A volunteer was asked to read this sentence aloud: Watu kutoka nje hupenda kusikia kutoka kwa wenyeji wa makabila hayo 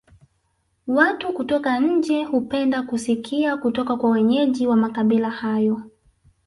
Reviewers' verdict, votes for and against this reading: accepted, 2, 1